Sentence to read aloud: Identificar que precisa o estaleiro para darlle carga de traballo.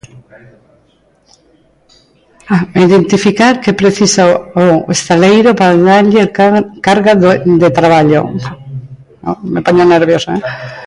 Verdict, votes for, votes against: rejected, 0, 2